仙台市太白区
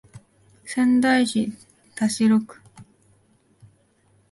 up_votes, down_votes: 0, 2